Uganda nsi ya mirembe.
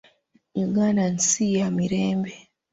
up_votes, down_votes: 2, 1